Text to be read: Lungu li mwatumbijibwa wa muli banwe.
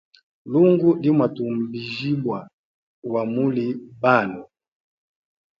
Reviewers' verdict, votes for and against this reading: accepted, 2, 0